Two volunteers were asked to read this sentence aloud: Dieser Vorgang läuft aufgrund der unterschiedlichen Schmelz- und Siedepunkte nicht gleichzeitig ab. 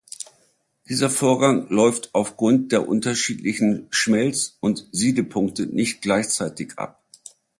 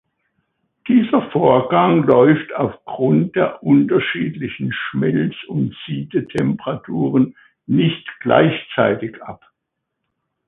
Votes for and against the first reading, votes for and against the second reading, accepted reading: 2, 0, 0, 2, first